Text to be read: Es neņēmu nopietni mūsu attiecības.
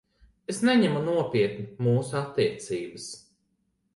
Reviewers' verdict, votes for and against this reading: rejected, 0, 2